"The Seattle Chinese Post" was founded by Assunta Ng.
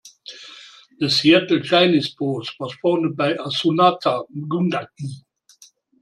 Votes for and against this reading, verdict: 0, 2, rejected